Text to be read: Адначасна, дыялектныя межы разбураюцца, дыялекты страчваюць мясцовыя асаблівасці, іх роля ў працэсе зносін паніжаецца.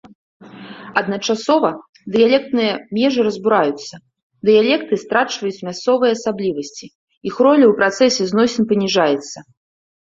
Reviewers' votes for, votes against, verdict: 1, 2, rejected